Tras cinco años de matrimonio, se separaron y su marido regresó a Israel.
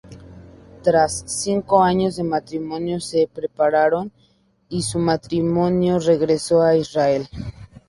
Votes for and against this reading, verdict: 0, 4, rejected